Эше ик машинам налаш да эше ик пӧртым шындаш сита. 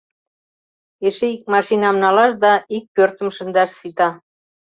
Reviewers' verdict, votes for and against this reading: rejected, 1, 2